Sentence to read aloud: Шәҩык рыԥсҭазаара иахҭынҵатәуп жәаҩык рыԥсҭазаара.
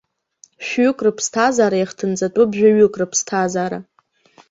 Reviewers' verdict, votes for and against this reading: accepted, 2, 0